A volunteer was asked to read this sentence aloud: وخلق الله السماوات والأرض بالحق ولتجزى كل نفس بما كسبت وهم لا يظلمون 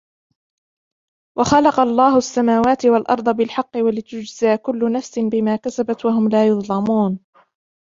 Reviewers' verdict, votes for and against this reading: accepted, 2, 1